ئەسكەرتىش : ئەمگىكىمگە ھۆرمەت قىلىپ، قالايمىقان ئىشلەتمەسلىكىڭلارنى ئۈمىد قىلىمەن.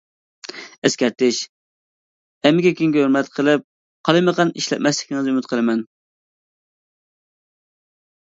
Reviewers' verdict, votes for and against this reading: rejected, 0, 2